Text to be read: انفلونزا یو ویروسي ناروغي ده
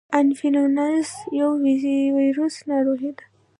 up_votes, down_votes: 1, 2